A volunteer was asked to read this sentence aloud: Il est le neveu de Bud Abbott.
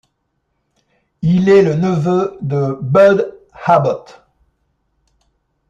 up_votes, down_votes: 0, 2